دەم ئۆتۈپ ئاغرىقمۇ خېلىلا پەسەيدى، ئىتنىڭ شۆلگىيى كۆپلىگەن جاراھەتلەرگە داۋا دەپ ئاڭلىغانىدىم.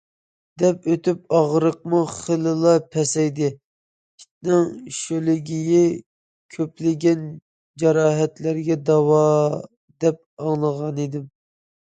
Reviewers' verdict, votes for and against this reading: rejected, 1, 2